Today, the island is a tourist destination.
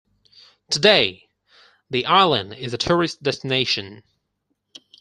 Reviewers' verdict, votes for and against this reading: accepted, 4, 0